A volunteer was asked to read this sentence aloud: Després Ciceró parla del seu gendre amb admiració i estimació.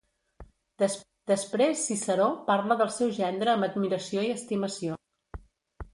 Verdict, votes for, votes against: rejected, 0, 2